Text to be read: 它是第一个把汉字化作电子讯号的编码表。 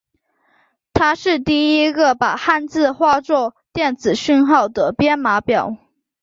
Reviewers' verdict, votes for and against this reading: accepted, 3, 0